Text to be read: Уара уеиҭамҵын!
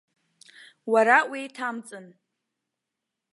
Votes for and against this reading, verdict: 2, 0, accepted